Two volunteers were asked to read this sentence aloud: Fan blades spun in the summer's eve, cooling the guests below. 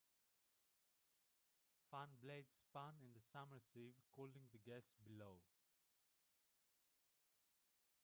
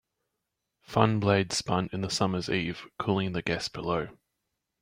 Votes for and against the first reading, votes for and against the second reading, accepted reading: 2, 5, 3, 0, second